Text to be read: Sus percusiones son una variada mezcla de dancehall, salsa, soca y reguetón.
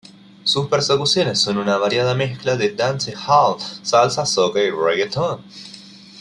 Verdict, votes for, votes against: accepted, 2, 1